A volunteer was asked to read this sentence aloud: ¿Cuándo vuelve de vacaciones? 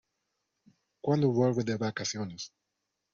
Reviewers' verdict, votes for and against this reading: rejected, 0, 2